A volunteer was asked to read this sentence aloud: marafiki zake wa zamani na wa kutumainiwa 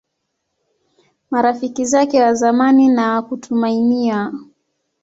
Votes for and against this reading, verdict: 3, 0, accepted